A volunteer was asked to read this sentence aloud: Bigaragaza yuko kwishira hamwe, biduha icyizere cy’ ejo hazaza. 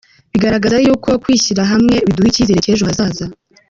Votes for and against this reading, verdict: 2, 0, accepted